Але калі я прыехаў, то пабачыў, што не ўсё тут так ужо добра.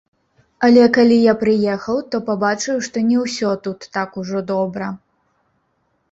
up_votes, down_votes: 0, 2